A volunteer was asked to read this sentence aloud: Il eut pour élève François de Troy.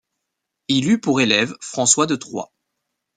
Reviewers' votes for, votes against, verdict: 2, 0, accepted